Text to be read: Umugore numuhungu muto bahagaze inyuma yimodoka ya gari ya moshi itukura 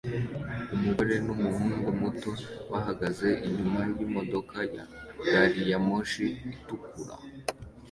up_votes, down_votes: 2, 0